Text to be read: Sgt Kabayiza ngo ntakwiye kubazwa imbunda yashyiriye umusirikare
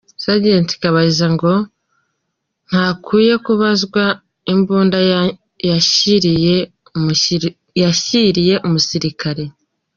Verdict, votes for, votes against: rejected, 1, 2